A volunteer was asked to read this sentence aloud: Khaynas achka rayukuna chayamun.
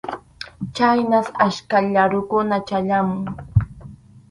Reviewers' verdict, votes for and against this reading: rejected, 2, 2